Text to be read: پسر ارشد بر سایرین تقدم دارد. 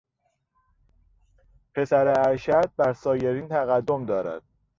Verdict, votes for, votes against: accepted, 2, 0